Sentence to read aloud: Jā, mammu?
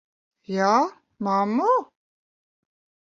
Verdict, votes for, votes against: accepted, 2, 0